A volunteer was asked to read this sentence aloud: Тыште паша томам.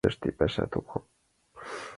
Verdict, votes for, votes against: accepted, 2, 0